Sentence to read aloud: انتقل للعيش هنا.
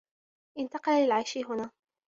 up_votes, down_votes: 3, 0